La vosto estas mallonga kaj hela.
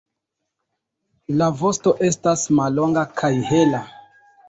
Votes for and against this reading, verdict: 2, 0, accepted